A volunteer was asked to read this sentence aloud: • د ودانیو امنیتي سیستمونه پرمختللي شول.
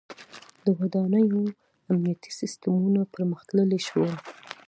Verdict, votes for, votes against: accepted, 2, 0